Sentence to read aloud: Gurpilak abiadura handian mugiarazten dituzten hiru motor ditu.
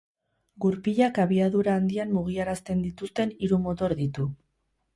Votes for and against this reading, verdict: 2, 0, accepted